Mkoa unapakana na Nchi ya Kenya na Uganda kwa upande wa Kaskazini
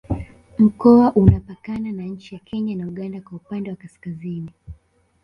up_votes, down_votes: 0, 2